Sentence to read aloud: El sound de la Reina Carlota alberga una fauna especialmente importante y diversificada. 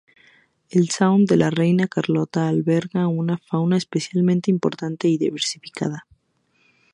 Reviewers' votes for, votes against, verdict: 2, 0, accepted